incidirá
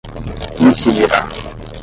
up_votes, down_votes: 0, 5